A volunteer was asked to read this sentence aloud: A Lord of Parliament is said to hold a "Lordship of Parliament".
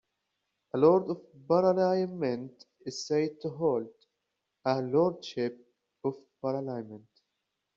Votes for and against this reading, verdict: 1, 2, rejected